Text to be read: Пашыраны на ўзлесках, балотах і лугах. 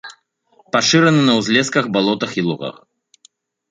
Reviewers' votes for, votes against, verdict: 2, 0, accepted